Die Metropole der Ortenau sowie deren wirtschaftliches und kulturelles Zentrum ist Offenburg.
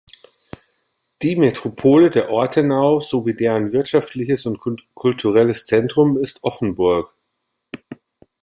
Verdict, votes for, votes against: rejected, 1, 2